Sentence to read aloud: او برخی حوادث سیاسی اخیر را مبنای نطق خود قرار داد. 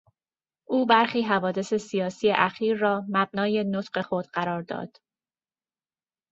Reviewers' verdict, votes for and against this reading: accepted, 2, 0